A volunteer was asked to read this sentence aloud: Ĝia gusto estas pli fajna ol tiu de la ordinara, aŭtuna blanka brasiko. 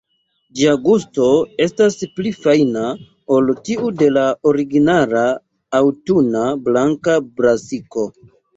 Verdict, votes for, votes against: rejected, 0, 2